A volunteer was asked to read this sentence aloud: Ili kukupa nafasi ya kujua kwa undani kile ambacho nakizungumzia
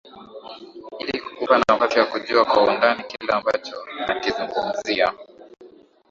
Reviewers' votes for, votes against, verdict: 2, 3, rejected